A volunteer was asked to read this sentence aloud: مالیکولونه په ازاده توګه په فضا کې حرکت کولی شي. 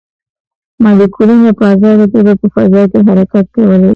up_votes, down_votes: 2, 0